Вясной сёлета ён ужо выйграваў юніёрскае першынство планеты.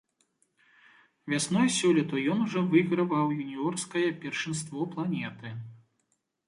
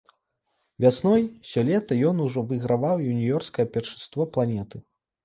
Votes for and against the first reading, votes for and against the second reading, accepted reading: 2, 0, 0, 2, first